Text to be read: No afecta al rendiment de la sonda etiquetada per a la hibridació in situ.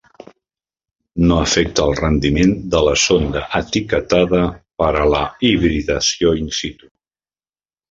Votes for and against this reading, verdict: 0, 2, rejected